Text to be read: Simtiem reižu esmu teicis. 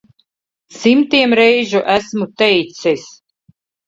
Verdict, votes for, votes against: accepted, 2, 0